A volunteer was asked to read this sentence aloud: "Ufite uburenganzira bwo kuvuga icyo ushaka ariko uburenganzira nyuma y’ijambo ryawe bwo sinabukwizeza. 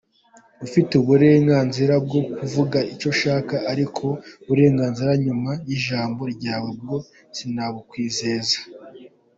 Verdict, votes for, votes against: accepted, 2, 0